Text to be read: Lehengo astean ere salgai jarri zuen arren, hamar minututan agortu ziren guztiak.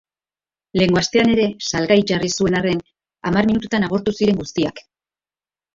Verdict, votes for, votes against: accepted, 3, 1